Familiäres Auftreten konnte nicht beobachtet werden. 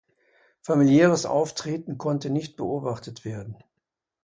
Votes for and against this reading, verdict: 2, 0, accepted